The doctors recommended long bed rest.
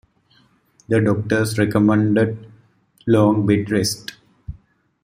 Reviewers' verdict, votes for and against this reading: accepted, 2, 0